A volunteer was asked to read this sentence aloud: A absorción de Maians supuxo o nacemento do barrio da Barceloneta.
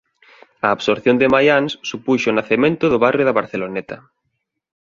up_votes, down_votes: 2, 0